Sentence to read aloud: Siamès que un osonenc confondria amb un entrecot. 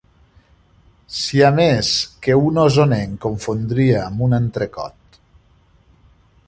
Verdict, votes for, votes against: accepted, 4, 0